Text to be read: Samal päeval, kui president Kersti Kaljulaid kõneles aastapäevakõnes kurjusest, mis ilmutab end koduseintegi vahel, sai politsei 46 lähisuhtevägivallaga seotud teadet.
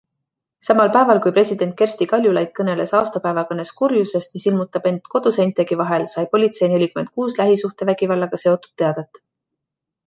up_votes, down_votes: 0, 2